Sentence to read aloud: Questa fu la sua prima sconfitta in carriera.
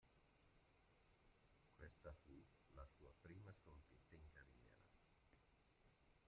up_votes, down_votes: 0, 2